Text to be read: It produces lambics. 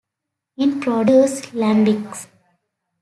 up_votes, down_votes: 0, 2